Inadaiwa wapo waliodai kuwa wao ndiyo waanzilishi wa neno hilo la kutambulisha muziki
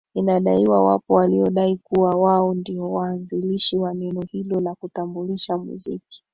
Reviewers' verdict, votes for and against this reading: accepted, 2, 0